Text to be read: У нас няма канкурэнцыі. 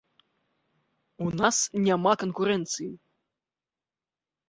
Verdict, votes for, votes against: accepted, 2, 0